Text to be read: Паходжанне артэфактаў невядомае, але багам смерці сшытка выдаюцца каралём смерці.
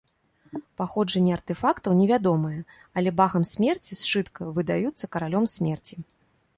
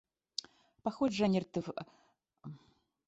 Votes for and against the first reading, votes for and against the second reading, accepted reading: 2, 0, 0, 2, first